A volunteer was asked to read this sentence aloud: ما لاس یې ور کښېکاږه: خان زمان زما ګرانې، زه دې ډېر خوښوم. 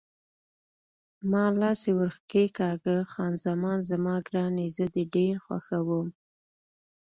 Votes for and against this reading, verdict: 2, 0, accepted